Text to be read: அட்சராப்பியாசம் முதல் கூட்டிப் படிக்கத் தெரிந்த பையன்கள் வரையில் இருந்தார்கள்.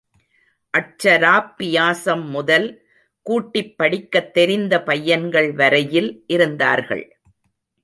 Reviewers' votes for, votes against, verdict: 0, 2, rejected